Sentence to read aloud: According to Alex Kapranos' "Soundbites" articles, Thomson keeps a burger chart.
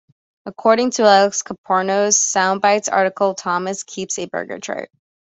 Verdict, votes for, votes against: accepted, 2, 0